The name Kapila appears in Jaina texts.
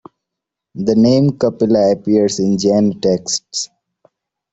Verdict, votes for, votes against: accepted, 2, 1